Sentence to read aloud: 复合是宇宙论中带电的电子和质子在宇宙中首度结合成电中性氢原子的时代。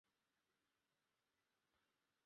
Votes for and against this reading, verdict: 0, 2, rejected